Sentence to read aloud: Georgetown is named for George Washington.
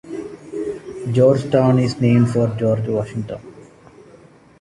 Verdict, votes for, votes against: accepted, 2, 0